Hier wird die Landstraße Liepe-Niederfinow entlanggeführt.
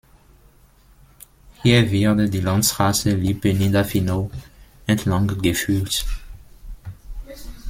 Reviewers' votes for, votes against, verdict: 1, 2, rejected